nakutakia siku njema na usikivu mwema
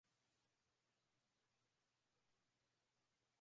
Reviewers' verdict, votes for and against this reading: rejected, 0, 2